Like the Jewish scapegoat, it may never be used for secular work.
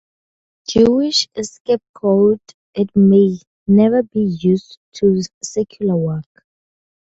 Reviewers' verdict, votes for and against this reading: rejected, 0, 4